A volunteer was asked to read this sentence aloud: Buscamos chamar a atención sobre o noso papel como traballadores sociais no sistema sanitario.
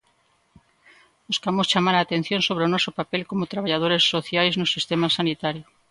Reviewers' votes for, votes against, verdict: 2, 0, accepted